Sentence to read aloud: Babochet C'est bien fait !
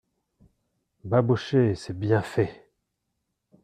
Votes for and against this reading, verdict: 2, 0, accepted